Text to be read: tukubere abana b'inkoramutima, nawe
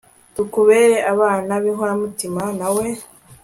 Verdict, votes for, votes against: accepted, 2, 0